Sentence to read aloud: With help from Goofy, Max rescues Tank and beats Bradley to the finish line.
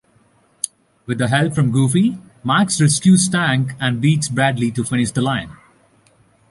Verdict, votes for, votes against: accepted, 2, 1